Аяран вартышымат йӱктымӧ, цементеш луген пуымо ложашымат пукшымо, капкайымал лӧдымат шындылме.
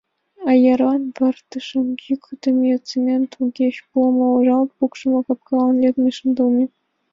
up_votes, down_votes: 0, 2